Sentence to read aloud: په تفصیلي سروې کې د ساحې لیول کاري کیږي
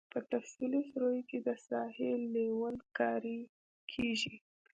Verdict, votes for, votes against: accepted, 2, 0